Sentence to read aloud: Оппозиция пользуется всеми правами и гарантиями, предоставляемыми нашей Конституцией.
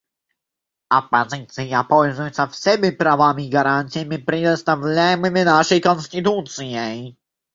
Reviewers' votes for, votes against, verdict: 0, 2, rejected